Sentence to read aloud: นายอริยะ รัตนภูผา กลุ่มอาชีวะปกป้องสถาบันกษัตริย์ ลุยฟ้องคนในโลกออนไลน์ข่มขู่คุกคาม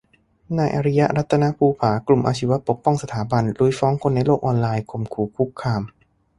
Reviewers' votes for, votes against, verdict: 2, 0, accepted